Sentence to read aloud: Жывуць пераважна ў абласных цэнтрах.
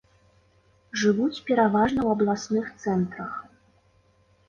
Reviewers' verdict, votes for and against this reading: accepted, 2, 0